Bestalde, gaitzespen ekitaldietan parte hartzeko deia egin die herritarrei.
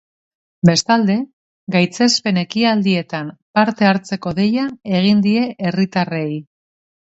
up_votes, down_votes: 2, 1